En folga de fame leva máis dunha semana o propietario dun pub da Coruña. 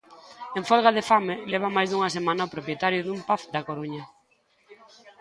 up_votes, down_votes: 1, 2